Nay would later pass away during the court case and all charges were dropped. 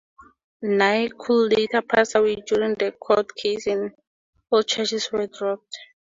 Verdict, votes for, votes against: accepted, 4, 2